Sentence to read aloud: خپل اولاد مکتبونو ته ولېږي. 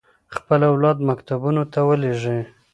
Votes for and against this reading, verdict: 3, 0, accepted